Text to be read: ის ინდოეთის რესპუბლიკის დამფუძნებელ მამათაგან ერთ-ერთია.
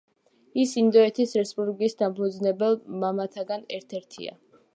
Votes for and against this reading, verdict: 2, 0, accepted